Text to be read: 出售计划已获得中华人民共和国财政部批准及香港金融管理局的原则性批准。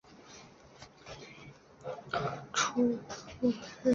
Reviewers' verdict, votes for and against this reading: rejected, 0, 2